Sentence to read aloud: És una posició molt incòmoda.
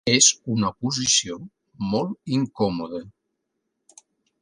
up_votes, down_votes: 3, 1